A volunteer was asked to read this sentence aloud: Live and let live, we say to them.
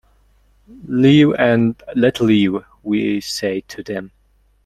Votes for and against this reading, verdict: 2, 0, accepted